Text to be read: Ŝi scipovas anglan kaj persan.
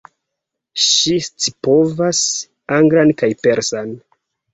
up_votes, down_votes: 2, 0